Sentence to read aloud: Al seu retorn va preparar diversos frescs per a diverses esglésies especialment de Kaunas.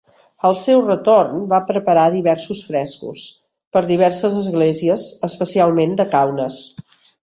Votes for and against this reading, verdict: 2, 3, rejected